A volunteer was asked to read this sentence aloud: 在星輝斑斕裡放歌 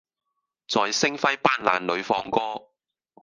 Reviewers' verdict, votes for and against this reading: rejected, 0, 2